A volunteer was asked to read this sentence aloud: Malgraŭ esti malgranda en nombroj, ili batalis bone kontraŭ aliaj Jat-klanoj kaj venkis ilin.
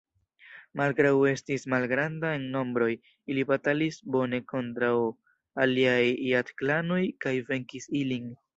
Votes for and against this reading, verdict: 2, 3, rejected